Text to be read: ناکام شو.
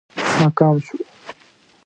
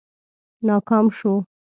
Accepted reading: second